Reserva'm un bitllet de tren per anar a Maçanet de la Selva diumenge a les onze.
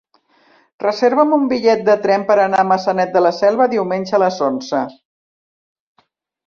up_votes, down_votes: 1, 2